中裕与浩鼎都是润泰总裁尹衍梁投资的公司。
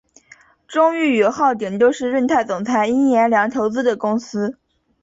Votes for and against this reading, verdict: 2, 0, accepted